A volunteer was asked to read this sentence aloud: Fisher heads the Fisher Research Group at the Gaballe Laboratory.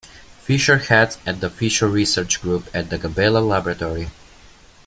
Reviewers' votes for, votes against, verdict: 2, 0, accepted